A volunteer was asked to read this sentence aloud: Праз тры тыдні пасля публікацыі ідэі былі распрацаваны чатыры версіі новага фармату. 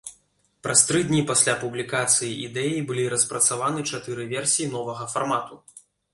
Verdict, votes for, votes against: rejected, 1, 2